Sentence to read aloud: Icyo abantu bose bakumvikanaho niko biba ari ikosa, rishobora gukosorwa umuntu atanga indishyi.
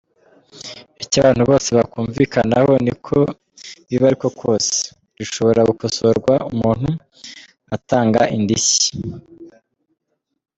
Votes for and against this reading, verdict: 1, 2, rejected